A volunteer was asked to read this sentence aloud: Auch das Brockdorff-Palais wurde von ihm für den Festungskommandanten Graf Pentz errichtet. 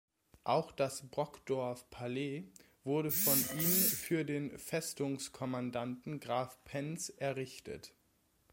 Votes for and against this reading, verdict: 2, 0, accepted